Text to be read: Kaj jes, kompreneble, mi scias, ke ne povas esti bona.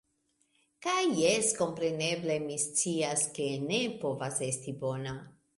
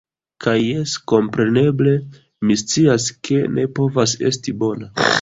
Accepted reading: first